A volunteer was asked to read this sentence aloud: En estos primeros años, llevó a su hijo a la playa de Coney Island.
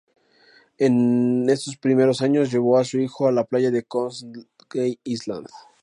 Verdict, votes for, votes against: rejected, 0, 2